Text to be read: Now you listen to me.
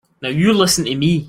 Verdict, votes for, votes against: rejected, 1, 2